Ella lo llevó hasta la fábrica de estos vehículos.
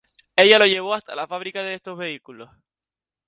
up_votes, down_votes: 2, 0